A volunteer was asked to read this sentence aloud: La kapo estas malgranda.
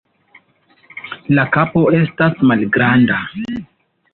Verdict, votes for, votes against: rejected, 1, 2